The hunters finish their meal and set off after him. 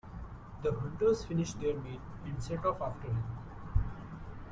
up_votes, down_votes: 1, 2